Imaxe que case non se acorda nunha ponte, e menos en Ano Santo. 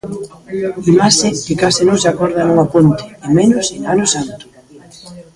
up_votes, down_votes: 0, 2